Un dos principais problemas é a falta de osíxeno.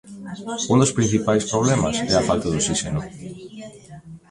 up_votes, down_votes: 0, 2